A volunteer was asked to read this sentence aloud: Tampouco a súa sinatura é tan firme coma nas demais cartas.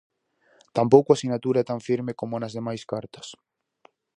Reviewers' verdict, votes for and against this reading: rejected, 0, 4